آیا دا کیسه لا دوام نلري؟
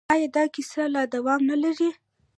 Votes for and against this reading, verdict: 1, 2, rejected